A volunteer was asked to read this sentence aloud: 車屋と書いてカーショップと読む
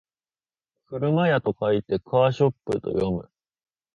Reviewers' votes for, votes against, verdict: 3, 0, accepted